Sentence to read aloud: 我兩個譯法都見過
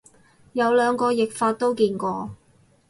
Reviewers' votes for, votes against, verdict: 2, 2, rejected